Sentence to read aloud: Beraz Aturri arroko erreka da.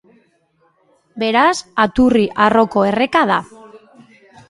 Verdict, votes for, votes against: accepted, 2, 0